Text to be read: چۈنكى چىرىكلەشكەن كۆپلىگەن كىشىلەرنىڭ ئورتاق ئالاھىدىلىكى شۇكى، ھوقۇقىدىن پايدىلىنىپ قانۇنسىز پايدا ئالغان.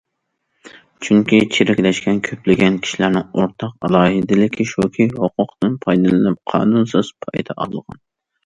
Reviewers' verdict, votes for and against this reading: accepted, 2, 0